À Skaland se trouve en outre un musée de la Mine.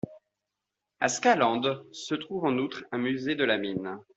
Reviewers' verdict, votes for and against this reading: accepted, 2, 0